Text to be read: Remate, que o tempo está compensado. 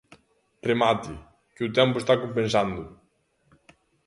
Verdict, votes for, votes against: rejected, 0, 2